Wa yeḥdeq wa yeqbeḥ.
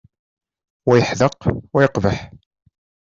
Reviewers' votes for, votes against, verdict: 2, 0, accepted